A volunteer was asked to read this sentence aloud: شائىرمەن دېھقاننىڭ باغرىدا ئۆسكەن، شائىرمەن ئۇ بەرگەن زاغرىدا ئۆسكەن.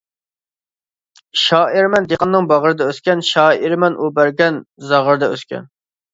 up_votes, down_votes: 2, 0